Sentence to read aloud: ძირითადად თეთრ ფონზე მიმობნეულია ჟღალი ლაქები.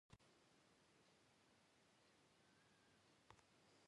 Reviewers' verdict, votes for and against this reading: rejected, 0, 2